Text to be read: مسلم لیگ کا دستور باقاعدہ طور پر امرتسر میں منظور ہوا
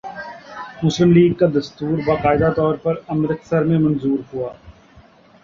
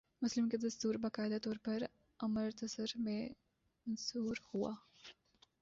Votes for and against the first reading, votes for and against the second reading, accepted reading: 3, 0, 2, 4, first